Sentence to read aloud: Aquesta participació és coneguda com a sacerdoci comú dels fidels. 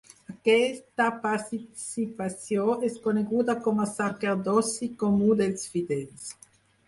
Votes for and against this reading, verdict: 0, 4, rejected